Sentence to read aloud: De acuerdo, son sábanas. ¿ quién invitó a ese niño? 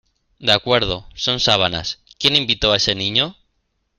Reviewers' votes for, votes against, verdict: 2, 0, accepted